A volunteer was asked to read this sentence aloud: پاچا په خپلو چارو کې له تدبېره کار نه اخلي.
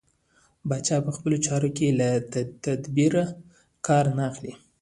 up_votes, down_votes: 2, 1